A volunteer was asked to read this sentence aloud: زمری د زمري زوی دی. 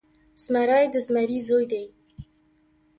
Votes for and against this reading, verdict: 0, 2, rejected